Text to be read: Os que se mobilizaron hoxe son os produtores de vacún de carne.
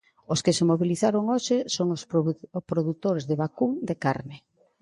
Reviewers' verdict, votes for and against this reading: rejected, 0, 3